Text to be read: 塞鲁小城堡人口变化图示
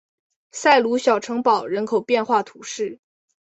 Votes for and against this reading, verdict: 2, 0, accepted